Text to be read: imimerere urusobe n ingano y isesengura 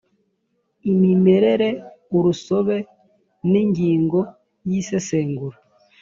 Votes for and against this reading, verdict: 1, 2, rejected